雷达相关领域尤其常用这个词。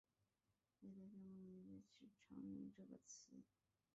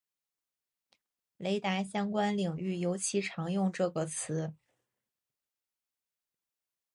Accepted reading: second